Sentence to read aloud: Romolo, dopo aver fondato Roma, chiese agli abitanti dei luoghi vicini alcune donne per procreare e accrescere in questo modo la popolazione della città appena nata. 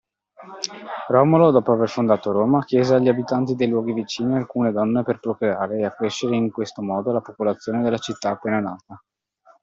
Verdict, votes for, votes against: accepted, 2, 0